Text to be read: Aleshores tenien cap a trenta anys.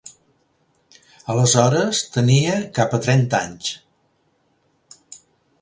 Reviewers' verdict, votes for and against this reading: rejected, 0, 2